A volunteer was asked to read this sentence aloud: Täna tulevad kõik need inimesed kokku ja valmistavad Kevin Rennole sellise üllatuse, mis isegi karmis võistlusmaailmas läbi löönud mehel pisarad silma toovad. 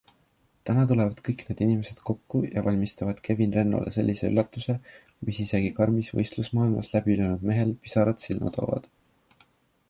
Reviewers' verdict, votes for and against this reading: accepted, 2, 0